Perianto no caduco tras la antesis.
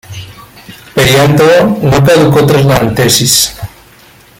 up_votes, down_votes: 0, 2